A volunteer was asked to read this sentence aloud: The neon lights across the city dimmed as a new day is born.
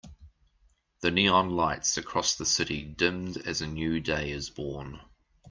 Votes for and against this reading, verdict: 2, 0, accepted